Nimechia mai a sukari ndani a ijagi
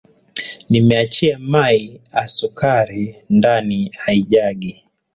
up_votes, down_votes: 2, 0